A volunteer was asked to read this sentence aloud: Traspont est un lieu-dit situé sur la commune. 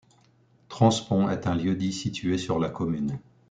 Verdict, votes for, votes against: rejected, 0, 3